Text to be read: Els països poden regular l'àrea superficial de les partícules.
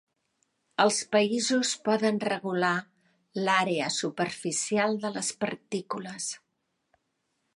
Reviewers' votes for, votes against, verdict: 3, 0, accepted